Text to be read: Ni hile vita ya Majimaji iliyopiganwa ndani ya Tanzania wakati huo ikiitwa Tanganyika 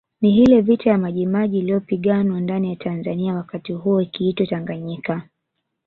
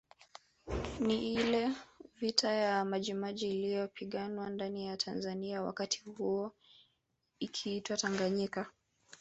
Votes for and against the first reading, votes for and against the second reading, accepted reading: 1, 2, 2, 0, second